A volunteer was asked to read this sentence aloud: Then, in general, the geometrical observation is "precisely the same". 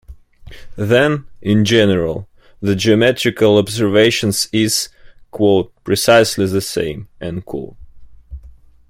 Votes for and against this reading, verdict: 0, 2, rejected